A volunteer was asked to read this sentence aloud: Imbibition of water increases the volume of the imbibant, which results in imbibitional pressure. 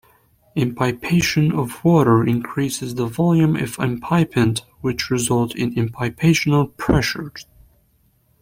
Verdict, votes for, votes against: rejected, 1, 2